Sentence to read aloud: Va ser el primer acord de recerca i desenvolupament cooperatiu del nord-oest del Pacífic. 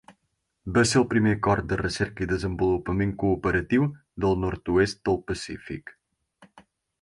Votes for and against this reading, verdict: 4, 0, accepted